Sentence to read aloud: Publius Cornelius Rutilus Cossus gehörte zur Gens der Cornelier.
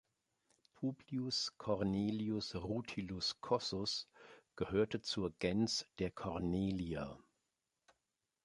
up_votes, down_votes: 0, 2